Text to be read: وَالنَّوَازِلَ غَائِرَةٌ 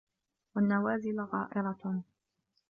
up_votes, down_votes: 2, 0